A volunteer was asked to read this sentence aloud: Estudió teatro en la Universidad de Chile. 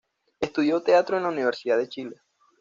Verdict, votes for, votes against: accepted, 2, 0